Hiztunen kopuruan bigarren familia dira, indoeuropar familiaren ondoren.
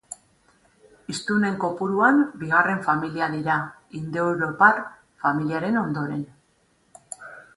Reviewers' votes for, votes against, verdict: 2, 0, accepted